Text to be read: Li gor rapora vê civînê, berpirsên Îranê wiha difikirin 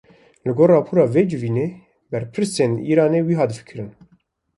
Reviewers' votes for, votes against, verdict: 2, 0, accepted